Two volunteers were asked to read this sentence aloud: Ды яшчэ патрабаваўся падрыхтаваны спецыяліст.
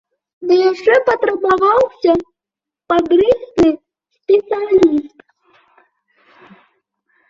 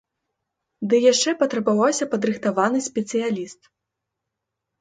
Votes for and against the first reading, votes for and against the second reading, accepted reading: 0, 2, 2, 0, second